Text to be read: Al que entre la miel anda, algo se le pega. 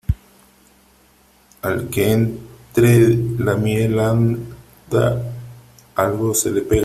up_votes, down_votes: 0, 3